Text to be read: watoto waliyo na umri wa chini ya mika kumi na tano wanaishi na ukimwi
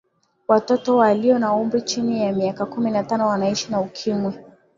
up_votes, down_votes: 4, 1